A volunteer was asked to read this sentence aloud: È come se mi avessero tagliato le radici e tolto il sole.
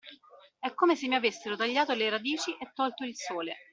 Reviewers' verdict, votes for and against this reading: accepted, 2, 1